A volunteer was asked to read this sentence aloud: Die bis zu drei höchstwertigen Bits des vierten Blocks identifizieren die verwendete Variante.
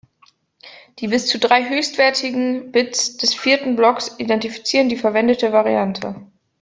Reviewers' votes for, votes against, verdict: 2, 0, accepted